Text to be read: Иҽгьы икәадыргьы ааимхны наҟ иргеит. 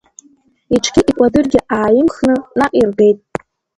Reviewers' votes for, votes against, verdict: 2, 1, accepted